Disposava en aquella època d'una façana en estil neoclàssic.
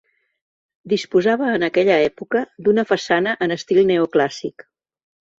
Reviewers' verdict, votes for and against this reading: accepted, 3, 0